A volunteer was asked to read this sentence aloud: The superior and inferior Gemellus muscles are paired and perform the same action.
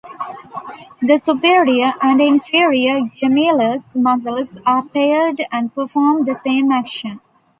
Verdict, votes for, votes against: rejected, 0, 2